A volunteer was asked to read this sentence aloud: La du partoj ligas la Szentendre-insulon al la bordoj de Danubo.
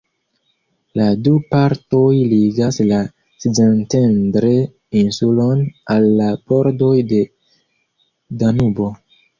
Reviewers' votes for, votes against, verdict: 1, 2, rejected